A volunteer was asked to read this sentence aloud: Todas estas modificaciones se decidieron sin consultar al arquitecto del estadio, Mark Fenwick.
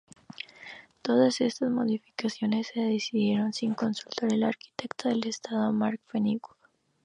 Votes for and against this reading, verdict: 8, 0, accepted